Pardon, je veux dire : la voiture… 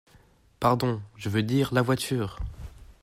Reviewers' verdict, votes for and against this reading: accepted, 2, 0